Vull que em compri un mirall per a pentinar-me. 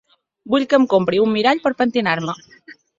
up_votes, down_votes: 0, 2